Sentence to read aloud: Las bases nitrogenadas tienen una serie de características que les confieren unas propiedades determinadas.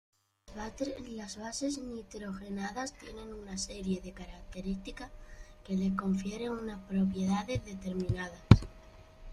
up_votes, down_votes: 0, 2